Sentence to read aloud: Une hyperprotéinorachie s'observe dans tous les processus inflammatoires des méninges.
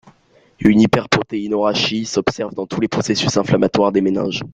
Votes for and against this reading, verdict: 2, 0, accepted